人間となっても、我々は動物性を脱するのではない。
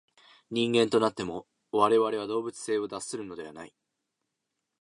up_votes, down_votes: 2, 0